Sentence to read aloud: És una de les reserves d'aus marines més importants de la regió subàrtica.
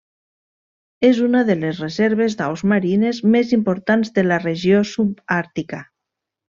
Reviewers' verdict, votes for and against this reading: accepted, 3, 0